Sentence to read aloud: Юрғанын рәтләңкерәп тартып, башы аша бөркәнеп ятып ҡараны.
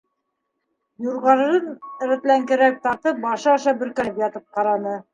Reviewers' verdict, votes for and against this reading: rejected, 1, 2